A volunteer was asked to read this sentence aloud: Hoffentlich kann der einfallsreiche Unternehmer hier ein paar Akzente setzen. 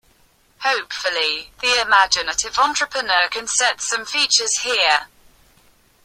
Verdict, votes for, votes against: rejected, 1, 2